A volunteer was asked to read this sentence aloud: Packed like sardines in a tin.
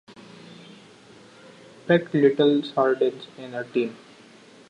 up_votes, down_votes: 0, 2